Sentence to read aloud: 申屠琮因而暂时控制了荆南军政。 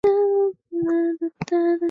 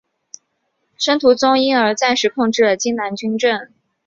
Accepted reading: second